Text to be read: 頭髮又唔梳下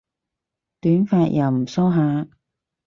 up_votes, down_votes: 0, 4